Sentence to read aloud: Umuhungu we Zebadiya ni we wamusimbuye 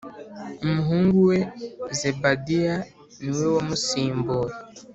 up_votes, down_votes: 4, 0